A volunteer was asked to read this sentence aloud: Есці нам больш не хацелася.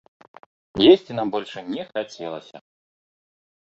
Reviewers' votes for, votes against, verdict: 2, 3, rejected